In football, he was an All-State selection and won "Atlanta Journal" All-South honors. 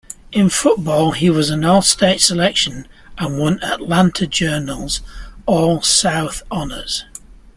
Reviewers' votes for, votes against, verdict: 1, 2, rejected